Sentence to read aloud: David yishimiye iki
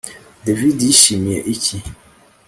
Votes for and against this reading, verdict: 2, 0, accepted